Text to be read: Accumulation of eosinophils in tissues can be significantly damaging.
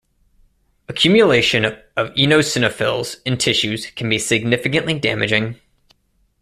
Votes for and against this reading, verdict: 1, 2, rejected